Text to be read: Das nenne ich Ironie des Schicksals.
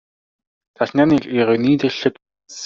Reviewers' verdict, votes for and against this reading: rejected, 1, 2